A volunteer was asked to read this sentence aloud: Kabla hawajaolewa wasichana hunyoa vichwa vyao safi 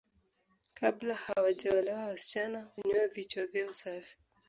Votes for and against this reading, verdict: 1, 2, rejected